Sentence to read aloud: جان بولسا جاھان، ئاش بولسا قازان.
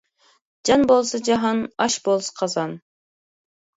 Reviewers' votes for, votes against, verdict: 2, 0, accepted